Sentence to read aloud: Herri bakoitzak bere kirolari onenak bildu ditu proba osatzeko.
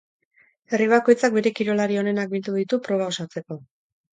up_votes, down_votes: 6, 0